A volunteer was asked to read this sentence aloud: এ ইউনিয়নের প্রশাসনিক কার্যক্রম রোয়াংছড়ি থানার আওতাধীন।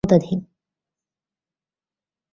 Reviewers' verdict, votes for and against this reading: rejected, 0, 2